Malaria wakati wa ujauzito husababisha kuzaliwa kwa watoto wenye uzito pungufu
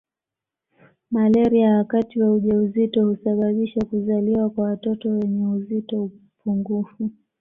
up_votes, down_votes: 2, 0